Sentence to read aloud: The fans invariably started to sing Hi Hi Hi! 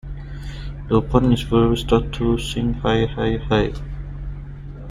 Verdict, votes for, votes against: rejected, 1, 2